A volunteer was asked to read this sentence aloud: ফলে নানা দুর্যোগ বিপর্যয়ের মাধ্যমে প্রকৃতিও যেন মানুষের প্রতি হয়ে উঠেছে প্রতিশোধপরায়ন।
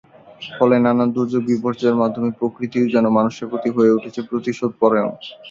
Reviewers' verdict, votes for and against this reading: accepted, 2, 0